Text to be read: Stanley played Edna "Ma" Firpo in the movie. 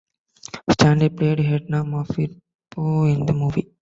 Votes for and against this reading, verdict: 1, 2, rejected